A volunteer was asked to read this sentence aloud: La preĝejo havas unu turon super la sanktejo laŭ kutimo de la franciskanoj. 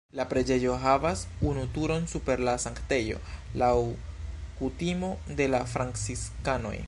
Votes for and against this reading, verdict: 2, 0, accepted